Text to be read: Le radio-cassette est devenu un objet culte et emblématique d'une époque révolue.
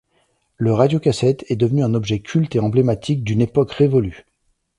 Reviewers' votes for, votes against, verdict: 2, 0, accepted